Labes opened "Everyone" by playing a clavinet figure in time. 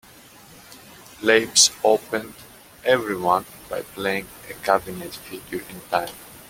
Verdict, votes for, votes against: accepted, 2, 0